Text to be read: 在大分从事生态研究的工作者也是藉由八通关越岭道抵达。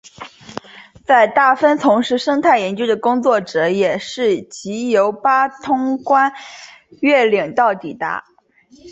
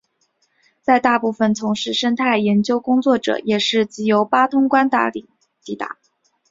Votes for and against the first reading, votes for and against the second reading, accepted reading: 3, 0, 1, 3, first